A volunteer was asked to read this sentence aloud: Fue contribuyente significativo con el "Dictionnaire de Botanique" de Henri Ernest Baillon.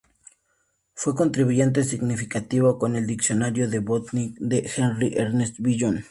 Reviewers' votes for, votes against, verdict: 0, 2, rejected